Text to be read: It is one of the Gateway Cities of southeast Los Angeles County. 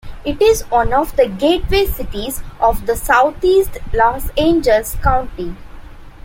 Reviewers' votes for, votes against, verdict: 1, 2, rejected